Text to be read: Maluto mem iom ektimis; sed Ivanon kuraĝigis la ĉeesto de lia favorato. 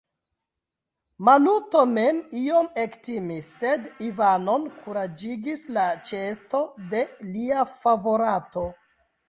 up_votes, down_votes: 1, 2